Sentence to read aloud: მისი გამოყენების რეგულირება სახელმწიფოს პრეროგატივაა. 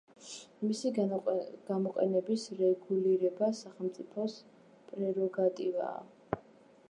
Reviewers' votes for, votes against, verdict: 2, 0, accepted